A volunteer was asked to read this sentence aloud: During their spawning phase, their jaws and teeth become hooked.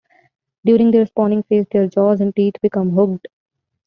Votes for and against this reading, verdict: 2, 1, accepted